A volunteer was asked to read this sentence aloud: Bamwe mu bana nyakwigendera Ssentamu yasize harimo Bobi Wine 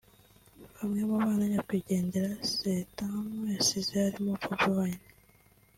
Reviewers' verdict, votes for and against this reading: accepted, 2, 0